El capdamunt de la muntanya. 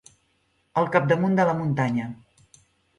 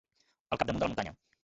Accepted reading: first